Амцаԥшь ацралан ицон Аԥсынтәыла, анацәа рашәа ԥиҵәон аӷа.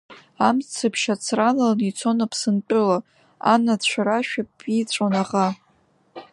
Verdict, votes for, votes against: accepted, 3, 0